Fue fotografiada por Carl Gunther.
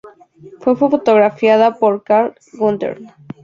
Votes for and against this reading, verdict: 4, 0, accepted